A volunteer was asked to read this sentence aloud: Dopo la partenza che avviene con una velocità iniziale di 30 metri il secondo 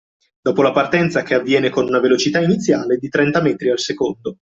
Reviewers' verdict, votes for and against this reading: rejected, 0, 2